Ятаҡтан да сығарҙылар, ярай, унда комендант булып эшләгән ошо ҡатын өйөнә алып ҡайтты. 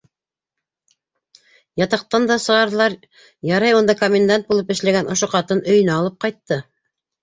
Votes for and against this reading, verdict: 2, 0, accepted